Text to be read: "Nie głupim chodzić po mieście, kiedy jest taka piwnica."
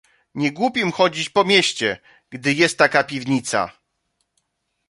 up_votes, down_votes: 0, 2